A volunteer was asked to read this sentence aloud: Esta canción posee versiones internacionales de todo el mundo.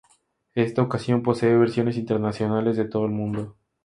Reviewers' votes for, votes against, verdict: 2, 2, rejected